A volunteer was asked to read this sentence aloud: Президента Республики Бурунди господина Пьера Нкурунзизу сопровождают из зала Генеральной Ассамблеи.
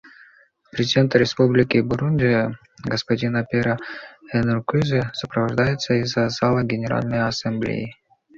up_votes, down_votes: 0, 2